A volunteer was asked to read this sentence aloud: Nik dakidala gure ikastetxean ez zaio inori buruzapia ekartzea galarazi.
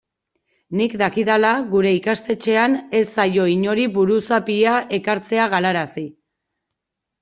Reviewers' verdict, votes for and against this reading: rejected, 1, 2